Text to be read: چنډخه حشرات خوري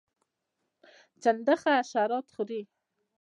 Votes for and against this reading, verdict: 0, 2, rejected